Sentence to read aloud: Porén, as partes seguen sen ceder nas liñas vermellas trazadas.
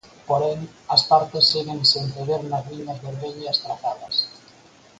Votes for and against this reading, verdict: 4, 0, accepted